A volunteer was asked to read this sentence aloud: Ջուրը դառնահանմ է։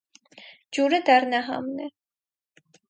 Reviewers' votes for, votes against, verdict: 2, 2, rejected